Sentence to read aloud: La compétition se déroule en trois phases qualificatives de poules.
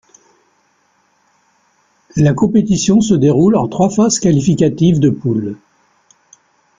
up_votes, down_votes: 3, 2